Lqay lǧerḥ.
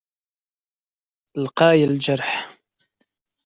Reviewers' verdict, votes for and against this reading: accepted, 2, 0